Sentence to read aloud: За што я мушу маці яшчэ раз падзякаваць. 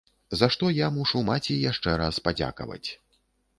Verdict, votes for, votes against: accepted, 2, 0